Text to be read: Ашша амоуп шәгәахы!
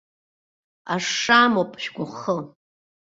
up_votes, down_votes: 2, 0